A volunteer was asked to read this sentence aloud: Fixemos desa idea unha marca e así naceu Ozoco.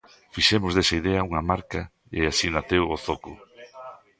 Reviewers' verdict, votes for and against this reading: rejected, 1, 2